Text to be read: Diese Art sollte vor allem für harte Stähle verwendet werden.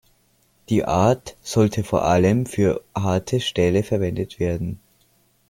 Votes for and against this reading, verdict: 0, 2, rejected